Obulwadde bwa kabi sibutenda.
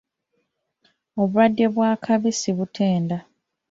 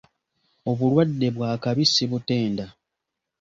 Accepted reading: second